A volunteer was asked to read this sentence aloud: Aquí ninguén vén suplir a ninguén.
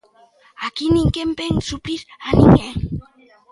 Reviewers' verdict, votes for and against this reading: accepted, 2, 1